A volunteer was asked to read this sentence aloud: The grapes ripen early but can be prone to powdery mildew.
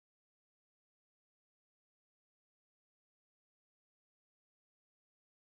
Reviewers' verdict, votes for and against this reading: rejected, 0, 2